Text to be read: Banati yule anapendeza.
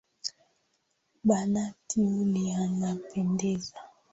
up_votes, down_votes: 6, 0